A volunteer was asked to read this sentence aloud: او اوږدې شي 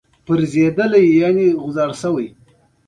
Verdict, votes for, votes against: rejected, 1, 2